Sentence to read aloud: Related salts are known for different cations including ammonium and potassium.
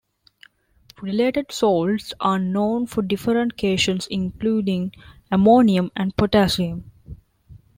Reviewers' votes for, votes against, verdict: 0, 2, rejected